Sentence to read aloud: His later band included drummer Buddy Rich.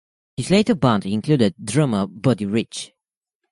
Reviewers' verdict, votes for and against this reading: accepted, 2, 0